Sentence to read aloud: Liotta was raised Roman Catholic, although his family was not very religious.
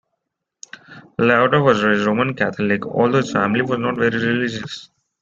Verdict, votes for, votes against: rejected, 1, 2